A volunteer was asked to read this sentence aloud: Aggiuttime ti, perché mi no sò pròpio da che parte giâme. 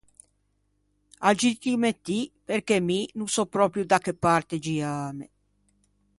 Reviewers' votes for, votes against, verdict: 2, 0, accepted